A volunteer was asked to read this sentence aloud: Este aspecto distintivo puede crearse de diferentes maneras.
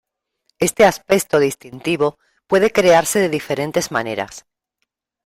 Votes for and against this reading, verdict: 0, 2, rejected